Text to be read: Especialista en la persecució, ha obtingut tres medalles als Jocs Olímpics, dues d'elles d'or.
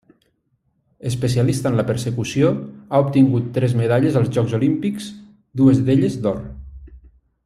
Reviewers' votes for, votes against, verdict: 0, 2, rejected